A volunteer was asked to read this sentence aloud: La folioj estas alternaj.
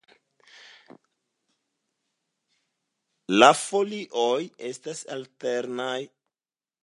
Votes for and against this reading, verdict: 2, 0, accepted